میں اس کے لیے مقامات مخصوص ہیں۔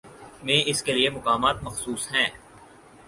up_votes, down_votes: 4, 0